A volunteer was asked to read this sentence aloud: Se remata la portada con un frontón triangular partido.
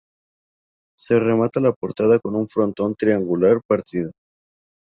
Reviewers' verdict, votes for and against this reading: accepted, 2, 0